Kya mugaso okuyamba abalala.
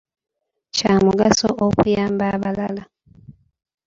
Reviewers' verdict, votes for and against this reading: accepted, 2, 1